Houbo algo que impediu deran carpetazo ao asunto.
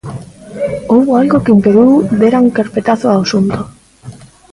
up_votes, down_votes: 1, 2